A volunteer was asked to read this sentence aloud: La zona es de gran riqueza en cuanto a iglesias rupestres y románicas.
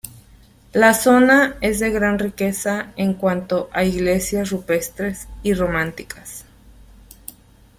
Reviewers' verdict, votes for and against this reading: rejected, 0, 2